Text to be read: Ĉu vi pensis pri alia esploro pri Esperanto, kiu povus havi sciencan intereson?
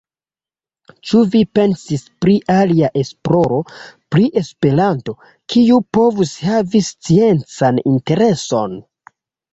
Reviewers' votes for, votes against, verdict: 1, 2, rejected